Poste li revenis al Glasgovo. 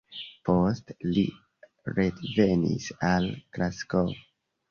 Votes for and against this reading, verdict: 1, 2, rejected